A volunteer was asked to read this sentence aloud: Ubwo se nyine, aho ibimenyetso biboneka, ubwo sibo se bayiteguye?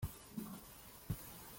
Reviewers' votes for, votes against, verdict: 0, 2, rejected